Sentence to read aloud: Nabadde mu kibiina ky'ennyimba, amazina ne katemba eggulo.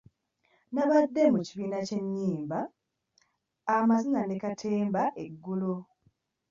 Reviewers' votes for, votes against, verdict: 2, 1, accepted